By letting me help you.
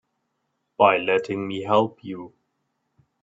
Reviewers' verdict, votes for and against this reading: accepted, 3, 0